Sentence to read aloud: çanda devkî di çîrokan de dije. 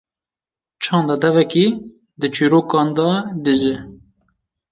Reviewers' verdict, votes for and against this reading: rejected, 0, 2